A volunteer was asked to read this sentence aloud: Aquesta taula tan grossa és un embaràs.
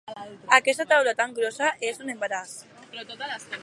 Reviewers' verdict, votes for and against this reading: rejected, 2, 4